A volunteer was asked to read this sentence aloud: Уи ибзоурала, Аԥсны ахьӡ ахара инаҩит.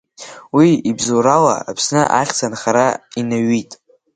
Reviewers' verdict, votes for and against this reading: accepted, 2, 0